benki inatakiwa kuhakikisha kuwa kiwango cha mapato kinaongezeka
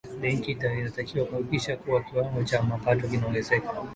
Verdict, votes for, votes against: rejected, 0, 2